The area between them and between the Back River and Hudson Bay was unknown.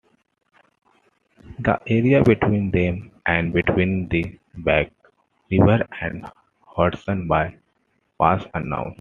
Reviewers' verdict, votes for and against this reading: accepted, 2, 1